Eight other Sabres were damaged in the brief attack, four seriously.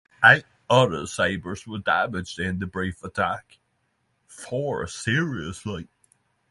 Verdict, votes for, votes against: accepted, 3, 0